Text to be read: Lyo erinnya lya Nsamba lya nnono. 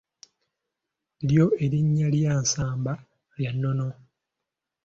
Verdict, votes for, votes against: accepted, 2, 0